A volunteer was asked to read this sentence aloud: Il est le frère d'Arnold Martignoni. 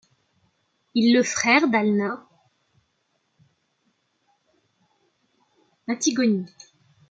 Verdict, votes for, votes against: rejected, 0, 2